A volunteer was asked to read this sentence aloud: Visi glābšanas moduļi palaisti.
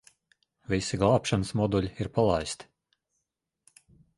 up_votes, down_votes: 1, 2